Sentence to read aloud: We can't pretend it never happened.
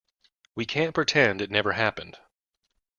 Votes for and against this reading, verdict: 2, 0, accepted